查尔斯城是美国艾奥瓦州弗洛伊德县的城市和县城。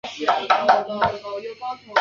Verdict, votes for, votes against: rejected, 0, 2